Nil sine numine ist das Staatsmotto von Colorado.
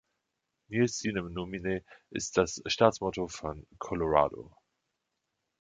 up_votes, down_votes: 2, 1